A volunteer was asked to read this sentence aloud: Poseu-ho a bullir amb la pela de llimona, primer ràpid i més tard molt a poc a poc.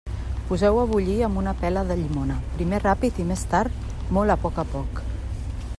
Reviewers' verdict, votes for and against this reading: rejected, 1, 2